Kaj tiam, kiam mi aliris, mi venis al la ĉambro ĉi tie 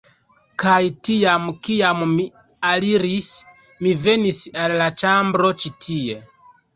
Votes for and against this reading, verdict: 2, 0, accepted